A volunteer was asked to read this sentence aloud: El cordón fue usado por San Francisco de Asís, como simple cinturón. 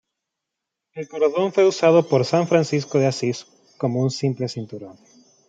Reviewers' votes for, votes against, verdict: 1, 2, rejected